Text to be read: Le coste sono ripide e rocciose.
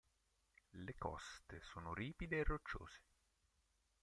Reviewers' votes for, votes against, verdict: 0, 2, rejected